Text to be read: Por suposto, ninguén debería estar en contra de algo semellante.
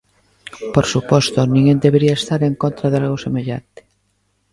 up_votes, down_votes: 2, 0